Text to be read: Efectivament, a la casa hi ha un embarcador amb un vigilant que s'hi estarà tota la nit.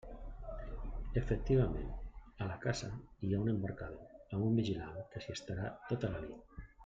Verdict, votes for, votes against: accepted, 2, 1